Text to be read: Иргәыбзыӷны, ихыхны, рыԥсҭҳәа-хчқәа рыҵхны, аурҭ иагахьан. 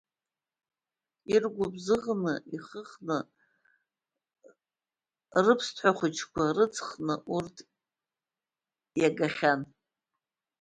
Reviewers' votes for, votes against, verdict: 0, 2, rejected